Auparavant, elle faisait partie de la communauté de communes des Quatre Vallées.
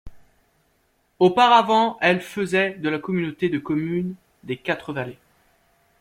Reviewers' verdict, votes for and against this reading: rejected, 0, 2